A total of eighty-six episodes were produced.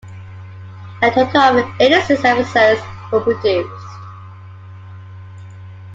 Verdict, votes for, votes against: rejected, 0, 2